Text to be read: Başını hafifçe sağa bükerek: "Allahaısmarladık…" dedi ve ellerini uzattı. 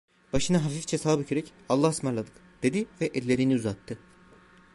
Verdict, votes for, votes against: accepted, 2, 0